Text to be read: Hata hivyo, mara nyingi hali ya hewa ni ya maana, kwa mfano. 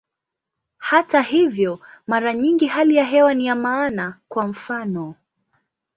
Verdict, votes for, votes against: accepted, 2, 0